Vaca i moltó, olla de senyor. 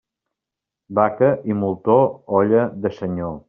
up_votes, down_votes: 2, 0